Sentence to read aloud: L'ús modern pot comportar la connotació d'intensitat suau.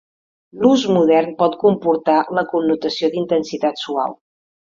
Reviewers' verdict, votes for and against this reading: accepted, 2, 0